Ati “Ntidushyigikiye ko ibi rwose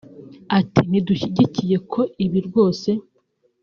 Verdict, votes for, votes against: accepted, 2, 0